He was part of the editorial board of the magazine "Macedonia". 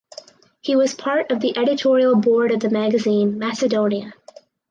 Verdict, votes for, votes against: accepted, 4, 0